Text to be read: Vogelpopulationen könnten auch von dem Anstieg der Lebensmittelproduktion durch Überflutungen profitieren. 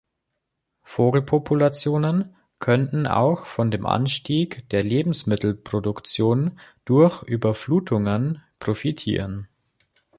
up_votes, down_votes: 3, 0